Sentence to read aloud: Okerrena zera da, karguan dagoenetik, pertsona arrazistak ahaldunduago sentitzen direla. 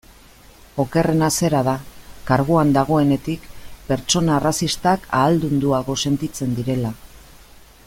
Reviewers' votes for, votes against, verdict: 2, 0, accepted